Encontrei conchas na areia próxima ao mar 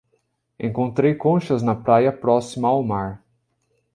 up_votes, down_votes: 0, 2